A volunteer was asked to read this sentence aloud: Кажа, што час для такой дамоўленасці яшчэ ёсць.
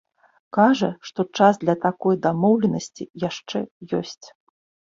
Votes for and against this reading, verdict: 3, 0, accepted